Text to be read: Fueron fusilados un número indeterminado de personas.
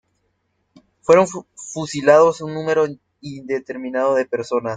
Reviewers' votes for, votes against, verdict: 0, 2, rejected